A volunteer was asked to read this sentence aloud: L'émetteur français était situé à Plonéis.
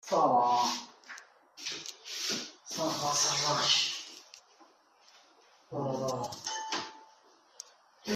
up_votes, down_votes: 0, 2